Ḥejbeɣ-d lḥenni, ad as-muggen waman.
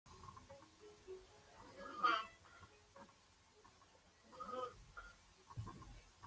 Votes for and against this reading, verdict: 0, 2, rejected